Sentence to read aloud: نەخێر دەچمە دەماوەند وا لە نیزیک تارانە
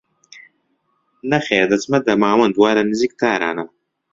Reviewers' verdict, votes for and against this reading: accepted, 2, 0